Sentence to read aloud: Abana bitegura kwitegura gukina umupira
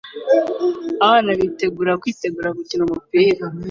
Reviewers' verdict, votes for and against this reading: accepted, 2, 0